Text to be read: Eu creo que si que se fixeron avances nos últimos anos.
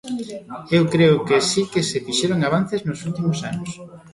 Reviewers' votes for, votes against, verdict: 2, 0, accepted